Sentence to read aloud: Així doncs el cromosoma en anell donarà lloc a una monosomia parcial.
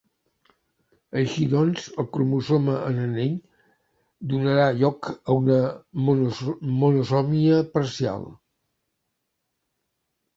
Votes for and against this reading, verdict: 0, 3, rejected